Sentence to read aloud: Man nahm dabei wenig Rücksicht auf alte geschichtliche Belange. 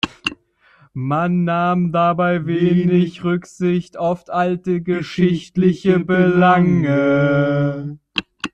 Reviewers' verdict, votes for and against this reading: rejected, 0, 2